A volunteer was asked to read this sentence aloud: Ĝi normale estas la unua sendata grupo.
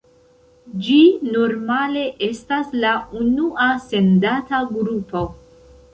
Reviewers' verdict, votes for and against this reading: accepted, 2, 1